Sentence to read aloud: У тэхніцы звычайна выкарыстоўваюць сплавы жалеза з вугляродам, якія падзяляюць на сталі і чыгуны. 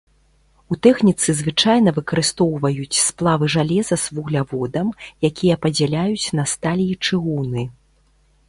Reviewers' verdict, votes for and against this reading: rejected, 1, 2